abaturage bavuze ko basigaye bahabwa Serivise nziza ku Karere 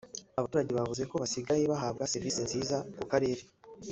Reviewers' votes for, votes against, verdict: 1, 2, rejected